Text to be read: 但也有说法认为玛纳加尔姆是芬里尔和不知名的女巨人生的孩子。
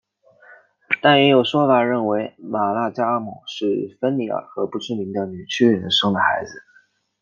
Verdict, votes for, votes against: accepted, 2, 0